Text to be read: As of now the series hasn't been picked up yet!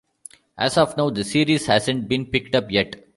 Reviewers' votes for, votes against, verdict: 1, 2, rejected